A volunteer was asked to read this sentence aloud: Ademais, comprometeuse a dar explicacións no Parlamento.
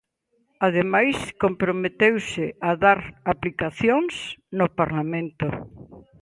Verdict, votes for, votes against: rejected, 0, 2